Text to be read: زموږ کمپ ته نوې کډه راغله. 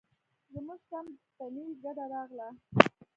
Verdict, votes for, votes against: rejected, 1, 2